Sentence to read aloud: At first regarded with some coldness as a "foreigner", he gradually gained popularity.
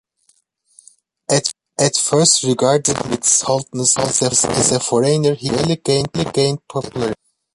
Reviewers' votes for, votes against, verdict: 0, 2, rejected